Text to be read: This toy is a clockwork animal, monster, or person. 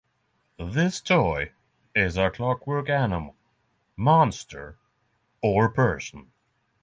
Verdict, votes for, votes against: accepted, 6, 0